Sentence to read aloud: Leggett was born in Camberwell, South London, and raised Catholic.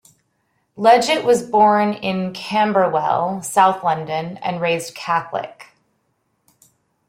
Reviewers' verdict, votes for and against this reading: accepted, 2, 1